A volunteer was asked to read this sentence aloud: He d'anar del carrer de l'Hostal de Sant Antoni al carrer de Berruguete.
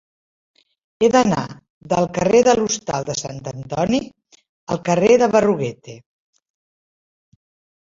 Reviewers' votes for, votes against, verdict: 2, 0, accepted